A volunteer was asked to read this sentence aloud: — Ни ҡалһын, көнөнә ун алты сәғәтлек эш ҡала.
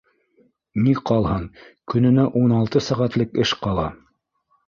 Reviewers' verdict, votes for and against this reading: accepted, 2, 0